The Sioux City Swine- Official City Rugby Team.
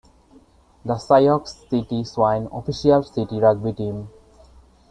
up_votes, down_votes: 0, 2